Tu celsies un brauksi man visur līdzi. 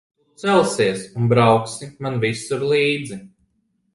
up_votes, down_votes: 1, 2